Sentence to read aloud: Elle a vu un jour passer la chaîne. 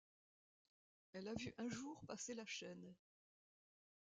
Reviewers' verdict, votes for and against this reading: accepted, 2, 0